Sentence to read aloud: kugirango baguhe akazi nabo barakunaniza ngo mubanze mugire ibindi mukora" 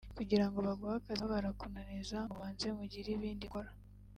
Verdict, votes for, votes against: accepted, 2, 1